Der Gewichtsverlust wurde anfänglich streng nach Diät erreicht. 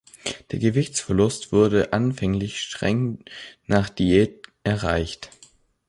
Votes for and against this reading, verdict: 2, 0, accepted